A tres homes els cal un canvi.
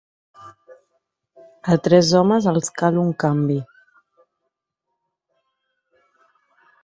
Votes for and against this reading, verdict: 0, 2, rejected